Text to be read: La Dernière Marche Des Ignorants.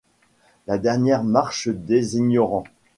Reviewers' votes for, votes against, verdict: 2, 0, accepted